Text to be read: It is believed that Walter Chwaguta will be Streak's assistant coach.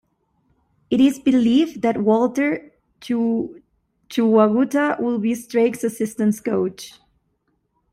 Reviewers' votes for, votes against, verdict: 1, 2, rejected